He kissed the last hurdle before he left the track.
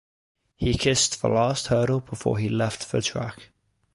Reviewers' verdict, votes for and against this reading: accepted, 2, 0